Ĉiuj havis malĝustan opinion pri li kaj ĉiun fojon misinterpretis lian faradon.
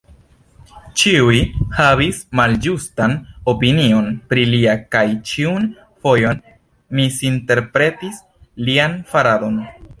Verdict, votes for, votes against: rejected, 1, 2